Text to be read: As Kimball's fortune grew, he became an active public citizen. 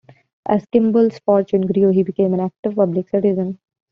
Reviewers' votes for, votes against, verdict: 2, 1, accepted